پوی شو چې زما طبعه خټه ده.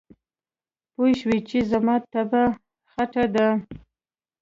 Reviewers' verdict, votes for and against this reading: accepted, 2, 0